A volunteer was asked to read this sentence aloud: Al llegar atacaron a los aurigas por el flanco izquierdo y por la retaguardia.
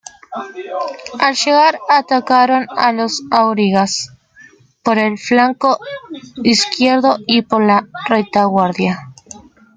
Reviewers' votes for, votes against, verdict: 2, 1, accepted